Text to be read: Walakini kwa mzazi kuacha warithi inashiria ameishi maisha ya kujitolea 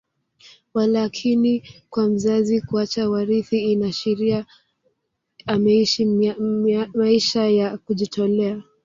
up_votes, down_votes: 0, 2